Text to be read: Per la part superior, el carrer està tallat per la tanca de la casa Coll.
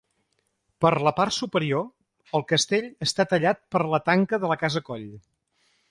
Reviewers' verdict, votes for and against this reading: rejected, 1, 2